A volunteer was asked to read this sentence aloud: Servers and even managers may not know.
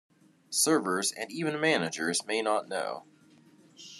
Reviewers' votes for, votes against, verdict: 2, 0, accepted